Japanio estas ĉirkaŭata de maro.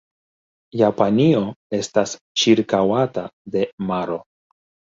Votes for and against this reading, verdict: 2, 1, accepted